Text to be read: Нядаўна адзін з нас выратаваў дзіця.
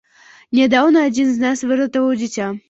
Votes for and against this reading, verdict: 2, 0, accepted